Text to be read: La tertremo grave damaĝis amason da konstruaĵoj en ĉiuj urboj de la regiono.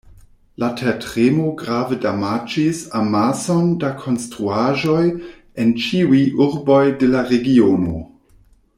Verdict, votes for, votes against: accepted, 2, 1